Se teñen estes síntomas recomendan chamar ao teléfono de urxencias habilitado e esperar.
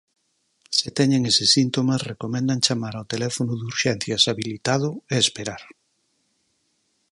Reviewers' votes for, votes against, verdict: 2, 6, rejected